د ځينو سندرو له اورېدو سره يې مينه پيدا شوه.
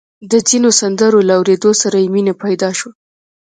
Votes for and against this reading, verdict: 1, 2, rejected